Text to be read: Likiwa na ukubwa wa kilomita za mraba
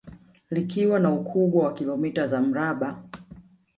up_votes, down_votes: 3, 0